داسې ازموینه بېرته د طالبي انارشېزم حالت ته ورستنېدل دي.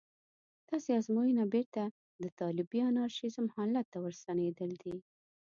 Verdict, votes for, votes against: accepted, 2, 0